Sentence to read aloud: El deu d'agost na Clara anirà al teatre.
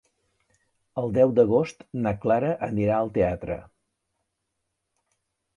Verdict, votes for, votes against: accepted, 3, 0